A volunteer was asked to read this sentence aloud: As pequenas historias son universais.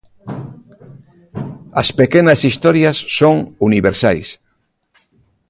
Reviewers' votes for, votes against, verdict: 0, 2, rejected